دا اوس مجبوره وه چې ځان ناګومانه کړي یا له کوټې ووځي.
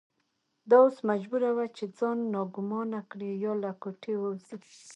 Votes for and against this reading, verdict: 2, 0, accepted